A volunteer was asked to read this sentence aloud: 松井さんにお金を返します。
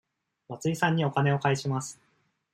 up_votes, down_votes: 2, 0